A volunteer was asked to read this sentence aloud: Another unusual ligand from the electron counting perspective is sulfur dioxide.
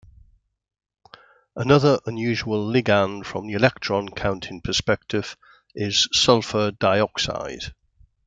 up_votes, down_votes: 2, 0